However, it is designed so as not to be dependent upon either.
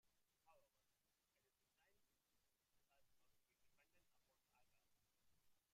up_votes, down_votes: 0, 2